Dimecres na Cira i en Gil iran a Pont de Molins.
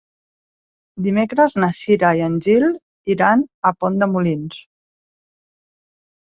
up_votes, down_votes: 3, 0